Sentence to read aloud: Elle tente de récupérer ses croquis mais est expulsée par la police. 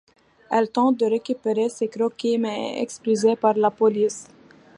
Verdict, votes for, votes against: rejected, 0, 2